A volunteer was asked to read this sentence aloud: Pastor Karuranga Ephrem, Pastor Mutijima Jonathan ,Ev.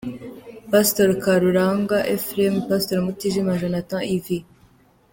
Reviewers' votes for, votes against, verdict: 2, 0, accepted